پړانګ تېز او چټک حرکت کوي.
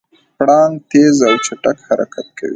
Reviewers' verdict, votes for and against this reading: accepted, 2, 1